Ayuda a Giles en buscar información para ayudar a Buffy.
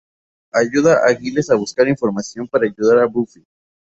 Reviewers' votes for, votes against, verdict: 2, 2, rejected